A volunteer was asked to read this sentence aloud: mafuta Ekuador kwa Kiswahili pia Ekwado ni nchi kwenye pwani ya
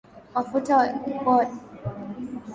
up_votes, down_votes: 0, 2